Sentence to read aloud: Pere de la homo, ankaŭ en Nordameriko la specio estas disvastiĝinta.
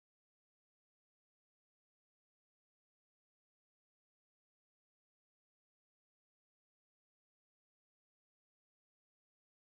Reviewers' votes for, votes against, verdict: 1, 2, rejected